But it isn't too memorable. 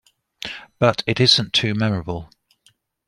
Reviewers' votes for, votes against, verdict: 2, 0, accepted